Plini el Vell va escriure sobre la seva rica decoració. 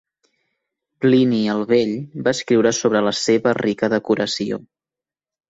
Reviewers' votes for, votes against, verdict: 2, 0, accepted